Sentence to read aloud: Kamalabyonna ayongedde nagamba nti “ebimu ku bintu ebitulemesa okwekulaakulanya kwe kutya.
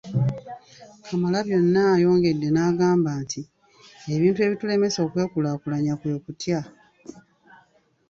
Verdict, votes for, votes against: rejected, 0, 2